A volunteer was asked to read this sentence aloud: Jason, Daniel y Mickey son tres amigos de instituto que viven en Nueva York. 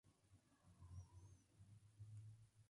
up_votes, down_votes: 0, 2